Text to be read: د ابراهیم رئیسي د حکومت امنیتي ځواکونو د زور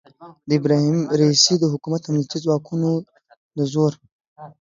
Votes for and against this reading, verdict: 3, 0, accepted